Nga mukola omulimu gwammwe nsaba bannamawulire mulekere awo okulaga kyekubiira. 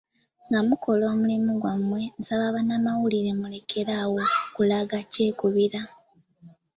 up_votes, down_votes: 2, 1